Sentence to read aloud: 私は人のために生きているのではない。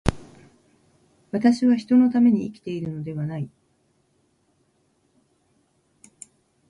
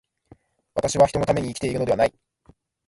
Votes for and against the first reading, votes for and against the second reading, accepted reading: 1, 2, 2, 0, second